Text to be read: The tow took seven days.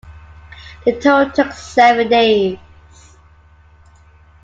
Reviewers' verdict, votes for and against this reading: accepted, 2, 0